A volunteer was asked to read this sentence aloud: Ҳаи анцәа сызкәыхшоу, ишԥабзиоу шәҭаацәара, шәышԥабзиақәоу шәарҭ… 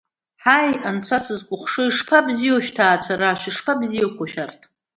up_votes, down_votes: 2, 0